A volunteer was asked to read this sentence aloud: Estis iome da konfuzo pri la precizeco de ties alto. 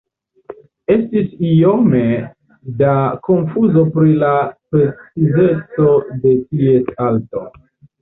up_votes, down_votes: 0, 2